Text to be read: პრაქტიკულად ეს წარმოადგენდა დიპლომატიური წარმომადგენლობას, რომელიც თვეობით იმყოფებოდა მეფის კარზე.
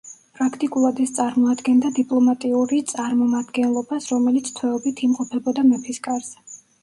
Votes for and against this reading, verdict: 0, 2, rejected